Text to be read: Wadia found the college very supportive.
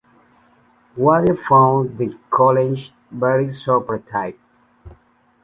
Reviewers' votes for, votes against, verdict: 0, 2, rejected